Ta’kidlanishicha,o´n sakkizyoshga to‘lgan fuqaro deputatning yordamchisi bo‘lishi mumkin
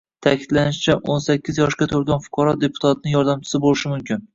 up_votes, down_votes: 2, 1